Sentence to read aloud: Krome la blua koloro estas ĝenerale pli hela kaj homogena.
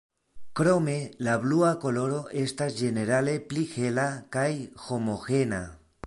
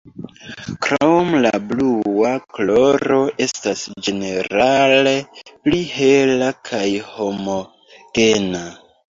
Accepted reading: second